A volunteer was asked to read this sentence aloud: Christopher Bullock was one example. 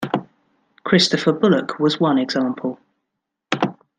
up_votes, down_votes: 2, 0